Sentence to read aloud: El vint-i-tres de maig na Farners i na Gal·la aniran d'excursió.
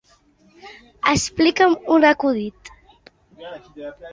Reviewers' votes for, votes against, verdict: 0, 2, rejected